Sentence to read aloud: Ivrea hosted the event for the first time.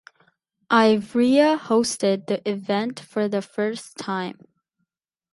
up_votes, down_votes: 8, 0